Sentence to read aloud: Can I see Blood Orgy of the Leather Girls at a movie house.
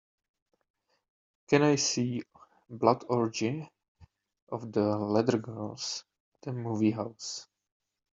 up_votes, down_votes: 1, 2